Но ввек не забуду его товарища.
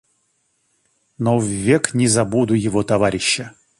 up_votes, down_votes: 2, 0